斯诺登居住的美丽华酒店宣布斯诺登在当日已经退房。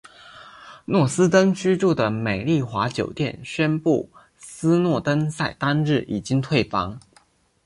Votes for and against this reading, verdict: 7, 0, accepted